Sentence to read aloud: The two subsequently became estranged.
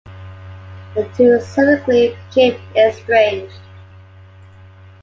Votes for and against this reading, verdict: 1, 2, rejected